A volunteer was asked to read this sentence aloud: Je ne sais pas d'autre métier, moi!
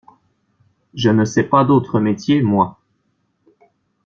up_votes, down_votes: 2, 0